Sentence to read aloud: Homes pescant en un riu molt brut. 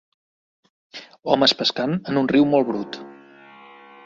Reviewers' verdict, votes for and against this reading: accepted, 3, 0